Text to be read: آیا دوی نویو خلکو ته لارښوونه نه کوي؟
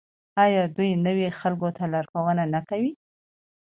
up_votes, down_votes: 2, 0